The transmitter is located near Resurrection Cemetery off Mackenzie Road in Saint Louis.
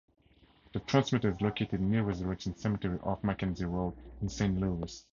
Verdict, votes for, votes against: accepted, 2, 0